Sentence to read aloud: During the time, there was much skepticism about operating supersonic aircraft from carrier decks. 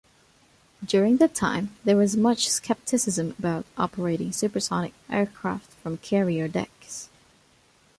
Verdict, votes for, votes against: accepted, 2, 0